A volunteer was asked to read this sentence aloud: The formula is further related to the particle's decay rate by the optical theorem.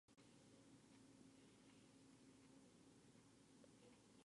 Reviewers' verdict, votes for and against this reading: rejected, 0, 2